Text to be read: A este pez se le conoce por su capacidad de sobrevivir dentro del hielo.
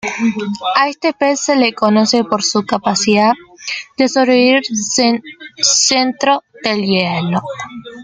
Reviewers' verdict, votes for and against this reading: rejected, 1, 2